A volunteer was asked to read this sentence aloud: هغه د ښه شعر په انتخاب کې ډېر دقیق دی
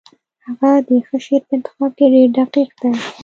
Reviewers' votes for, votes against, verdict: 1, 2, rejected